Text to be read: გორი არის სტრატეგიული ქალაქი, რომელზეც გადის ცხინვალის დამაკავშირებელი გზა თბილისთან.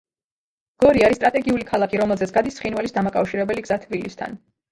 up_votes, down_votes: 2, 0